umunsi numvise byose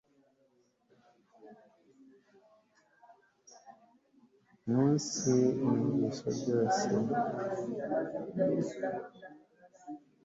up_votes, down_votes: 2, 0